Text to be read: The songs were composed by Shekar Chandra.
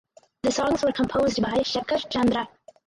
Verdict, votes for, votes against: rejected, 2, 4